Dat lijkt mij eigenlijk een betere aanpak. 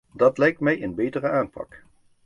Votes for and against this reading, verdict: 0, 2, rejected